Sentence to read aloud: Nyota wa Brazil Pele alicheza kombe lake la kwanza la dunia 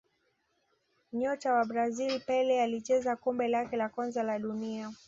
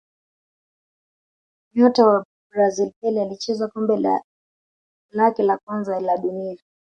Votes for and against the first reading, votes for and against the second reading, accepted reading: 2, 0, 1, 2, first